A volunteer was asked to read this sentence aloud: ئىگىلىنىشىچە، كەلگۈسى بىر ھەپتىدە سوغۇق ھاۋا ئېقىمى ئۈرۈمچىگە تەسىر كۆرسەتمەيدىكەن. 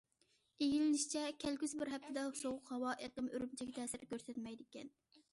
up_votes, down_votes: 2, 0